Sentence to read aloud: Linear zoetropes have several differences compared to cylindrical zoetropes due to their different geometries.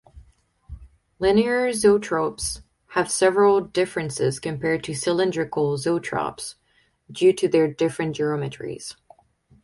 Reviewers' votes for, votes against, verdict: 4, 0, accepted